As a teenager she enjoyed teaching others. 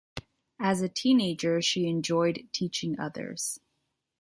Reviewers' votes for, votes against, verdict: 2, 0, accepted